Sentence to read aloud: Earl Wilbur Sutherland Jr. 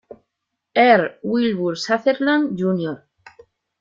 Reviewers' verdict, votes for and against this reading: rejected, 1, 2